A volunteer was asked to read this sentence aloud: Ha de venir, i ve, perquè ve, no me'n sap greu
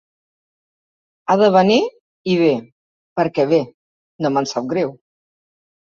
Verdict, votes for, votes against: accepted, 3, 0